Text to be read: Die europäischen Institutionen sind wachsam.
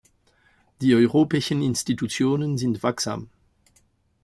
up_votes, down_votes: 0, 2